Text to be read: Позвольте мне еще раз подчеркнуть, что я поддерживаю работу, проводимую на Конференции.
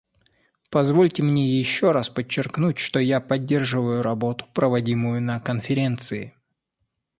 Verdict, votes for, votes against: accepted, 2, 0